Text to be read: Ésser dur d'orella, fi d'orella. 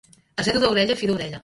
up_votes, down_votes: 1, 2